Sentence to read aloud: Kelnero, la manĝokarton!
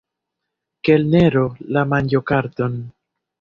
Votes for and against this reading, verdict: 1, 2, rejected